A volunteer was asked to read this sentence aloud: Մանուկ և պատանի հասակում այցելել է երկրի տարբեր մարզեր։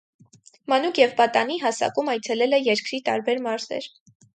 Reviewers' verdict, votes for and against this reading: accepted, 4, 0